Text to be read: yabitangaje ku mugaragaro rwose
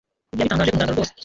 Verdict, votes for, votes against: rejected, 0, 2